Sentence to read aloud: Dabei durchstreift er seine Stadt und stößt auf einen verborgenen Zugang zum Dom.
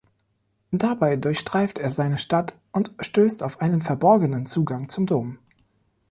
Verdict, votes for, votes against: accepted, 2, 0